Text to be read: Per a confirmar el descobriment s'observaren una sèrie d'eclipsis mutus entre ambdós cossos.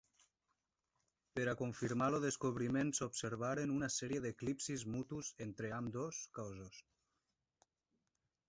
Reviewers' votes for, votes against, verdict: 1, 2, rejected